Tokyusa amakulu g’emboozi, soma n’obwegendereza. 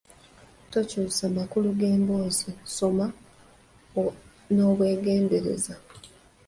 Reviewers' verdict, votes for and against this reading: rejected, 1, 2